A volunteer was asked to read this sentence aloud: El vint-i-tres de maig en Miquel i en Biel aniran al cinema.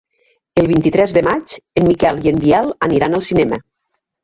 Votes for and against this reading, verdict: 2, 3, rejected